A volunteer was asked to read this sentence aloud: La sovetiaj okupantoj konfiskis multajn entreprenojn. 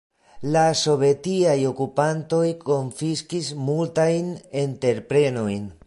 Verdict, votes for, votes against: rejected, 1, 2